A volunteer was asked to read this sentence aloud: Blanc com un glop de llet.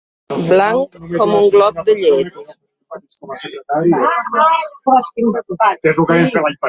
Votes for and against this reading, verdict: 0, 2, rejected